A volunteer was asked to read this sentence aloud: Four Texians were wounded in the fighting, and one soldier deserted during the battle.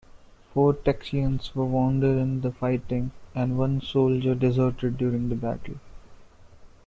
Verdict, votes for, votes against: rejected, 1, 2